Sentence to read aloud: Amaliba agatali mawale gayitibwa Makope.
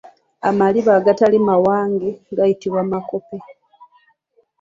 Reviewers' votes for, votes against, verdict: 0, 2, rejected